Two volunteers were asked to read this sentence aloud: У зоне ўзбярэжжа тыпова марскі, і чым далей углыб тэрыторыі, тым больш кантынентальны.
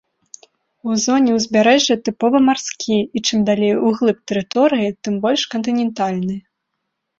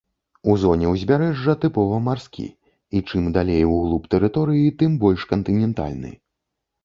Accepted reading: first